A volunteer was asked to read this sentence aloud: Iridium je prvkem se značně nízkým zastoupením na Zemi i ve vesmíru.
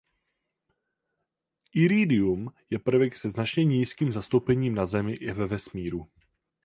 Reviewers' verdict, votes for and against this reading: rejected, 0, 4